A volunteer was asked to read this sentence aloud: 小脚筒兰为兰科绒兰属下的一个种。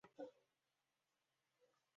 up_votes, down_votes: 0, 6